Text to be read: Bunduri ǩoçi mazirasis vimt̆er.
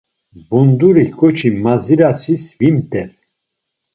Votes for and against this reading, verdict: 2, 0, accepted